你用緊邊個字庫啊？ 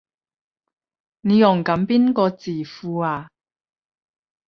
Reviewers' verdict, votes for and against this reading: rejected, 5, 10